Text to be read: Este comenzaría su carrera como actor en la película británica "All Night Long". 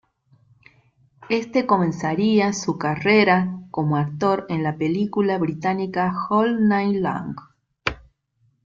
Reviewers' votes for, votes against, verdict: 1, 2, rejected